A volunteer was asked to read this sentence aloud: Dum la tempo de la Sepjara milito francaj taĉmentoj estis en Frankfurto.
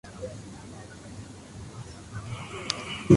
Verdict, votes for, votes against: rejected, 1, 2